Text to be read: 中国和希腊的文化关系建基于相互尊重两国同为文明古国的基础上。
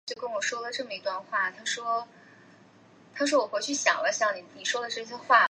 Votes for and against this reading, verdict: 0, 2, rejected